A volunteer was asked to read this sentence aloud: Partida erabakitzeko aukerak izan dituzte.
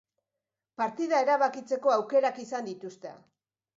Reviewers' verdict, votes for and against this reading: accepted, 2, 0